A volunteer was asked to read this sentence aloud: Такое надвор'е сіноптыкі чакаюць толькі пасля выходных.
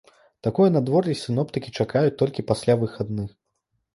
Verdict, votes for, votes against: rejected, 1, 2